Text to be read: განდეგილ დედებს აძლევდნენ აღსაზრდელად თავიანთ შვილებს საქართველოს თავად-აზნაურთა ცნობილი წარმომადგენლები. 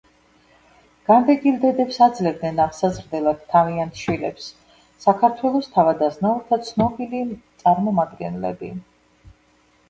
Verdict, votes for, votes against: accepted, 2, 0